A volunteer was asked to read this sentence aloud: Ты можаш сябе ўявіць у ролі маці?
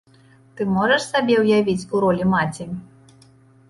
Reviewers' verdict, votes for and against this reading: rejected, 1, 2